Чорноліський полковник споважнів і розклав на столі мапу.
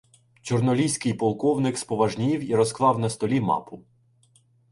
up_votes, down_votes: 2, 0